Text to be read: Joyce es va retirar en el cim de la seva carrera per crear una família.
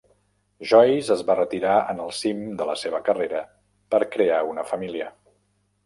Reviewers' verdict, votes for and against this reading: accepted, 3, 0